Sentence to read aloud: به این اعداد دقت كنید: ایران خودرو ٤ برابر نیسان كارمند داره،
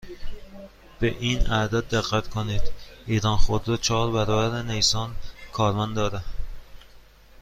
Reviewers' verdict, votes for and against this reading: rejected, 0, 2